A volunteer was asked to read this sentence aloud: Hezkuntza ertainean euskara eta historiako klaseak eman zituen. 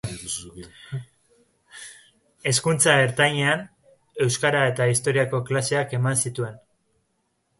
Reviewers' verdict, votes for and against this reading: rejected, 1, 2